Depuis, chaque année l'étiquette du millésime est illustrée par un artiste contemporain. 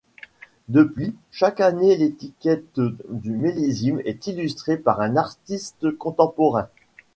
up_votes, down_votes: 2, 0